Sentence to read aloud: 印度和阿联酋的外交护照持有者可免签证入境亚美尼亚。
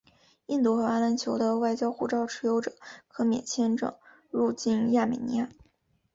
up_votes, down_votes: 4, 0